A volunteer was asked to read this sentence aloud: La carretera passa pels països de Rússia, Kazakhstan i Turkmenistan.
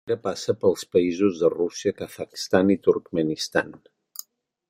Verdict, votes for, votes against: rejected, 1, 2